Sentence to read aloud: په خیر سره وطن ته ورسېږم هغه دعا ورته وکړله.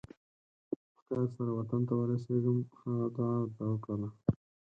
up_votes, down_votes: 2, 4